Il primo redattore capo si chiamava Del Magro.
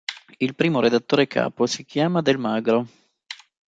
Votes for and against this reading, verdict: 1, 2, rejected